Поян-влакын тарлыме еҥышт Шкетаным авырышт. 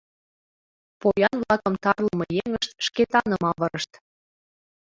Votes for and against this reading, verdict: 2, 3, rejected